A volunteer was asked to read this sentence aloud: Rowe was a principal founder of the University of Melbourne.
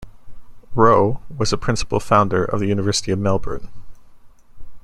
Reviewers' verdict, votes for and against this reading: accepted, 2, 0